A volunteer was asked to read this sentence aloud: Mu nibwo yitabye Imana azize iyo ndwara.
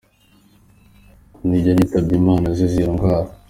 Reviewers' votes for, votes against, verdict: 2, 1, accepted